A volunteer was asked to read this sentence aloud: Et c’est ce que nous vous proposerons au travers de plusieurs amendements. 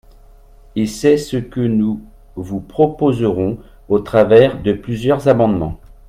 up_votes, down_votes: 3, 1